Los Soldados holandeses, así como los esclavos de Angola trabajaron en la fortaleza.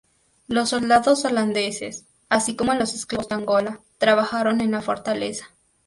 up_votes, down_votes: 0, 2